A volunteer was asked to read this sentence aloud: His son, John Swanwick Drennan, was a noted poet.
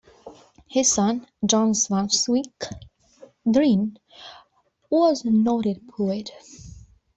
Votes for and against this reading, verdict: 0, 2, rejected